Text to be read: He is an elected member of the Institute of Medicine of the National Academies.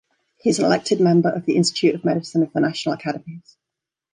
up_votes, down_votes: 2, 0